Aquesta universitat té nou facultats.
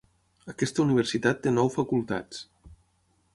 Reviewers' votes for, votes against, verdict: 6, 0, accepted